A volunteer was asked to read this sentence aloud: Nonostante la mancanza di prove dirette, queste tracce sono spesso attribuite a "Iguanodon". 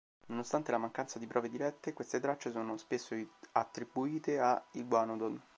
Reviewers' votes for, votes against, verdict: 2, 3, rejected